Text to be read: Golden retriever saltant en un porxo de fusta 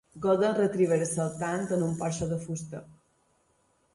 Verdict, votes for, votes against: accepted, 2, 1